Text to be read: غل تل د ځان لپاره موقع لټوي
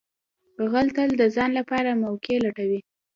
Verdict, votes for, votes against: accepted, 2, 0